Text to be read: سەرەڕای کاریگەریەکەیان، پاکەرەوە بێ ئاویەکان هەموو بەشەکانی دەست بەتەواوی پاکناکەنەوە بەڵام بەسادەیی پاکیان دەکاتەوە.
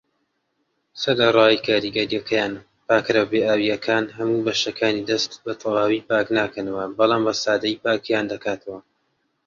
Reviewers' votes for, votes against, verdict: 2, 1, accepted